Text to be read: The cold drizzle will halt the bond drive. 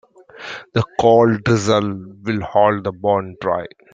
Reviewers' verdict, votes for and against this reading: rejected, 0, 2